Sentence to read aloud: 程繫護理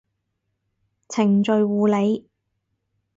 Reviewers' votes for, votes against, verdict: 2, 4, rejected